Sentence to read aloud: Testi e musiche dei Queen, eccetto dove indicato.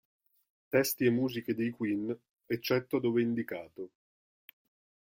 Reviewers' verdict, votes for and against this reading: accepted, 2, 0